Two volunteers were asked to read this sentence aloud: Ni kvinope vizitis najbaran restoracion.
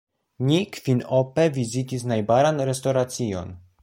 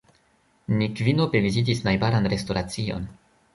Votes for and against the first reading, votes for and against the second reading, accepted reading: 2, 0, 1, 2, first